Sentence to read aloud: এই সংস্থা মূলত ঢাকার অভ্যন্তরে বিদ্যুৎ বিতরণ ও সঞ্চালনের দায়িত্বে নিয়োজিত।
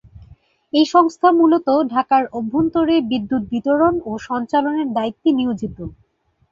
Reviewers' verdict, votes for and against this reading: accepted, 4, 0